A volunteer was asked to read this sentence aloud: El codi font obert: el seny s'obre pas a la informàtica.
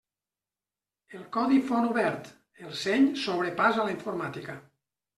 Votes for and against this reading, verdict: 2, 0, accepted